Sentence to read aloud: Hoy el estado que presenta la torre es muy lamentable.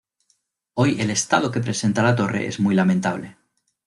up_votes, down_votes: 2, 0